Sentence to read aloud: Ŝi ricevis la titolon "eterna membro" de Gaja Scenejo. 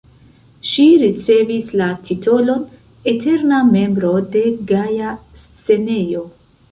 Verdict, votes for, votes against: rejected, 0, 2